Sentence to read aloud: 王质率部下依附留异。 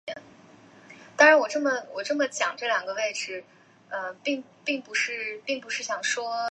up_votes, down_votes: 0, 2